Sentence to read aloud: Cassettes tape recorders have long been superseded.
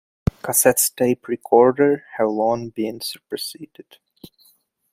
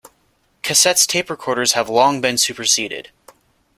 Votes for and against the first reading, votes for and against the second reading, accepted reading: 1, 2, 2, 0, second